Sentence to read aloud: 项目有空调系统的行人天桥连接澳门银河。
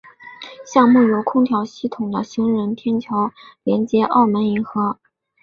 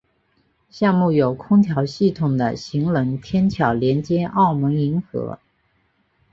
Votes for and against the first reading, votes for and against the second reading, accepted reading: 2, 0, 1, 2, first